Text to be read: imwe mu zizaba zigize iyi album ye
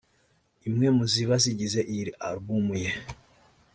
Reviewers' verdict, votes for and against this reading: rejected, 0, 2